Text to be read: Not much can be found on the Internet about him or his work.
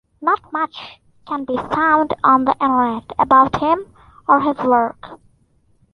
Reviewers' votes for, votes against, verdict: 2, 0, accepted